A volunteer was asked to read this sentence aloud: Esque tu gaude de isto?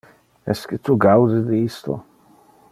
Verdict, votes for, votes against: accepted, 2, 0